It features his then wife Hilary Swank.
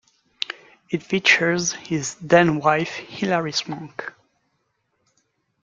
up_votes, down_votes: 2, 0